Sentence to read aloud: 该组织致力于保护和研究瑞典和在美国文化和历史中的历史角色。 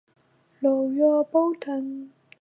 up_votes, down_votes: 1, 2